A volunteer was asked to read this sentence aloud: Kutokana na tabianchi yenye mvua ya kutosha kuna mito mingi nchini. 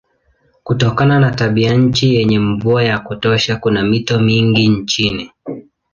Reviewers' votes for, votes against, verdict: 2, 0, accepted